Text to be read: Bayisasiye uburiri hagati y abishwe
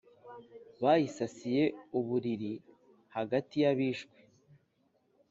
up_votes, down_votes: 2, 0